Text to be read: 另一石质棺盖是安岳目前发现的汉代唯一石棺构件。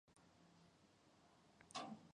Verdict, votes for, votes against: rejected, 0, 2